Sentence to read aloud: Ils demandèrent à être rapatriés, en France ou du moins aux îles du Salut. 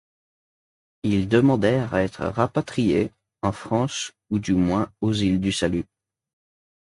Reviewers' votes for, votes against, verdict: 2, 0, accepted